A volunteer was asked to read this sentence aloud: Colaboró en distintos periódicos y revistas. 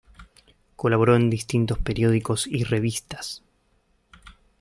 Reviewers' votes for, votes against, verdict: 2, 0, accepted